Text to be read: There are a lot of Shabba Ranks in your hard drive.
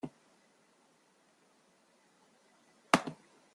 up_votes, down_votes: 0, 2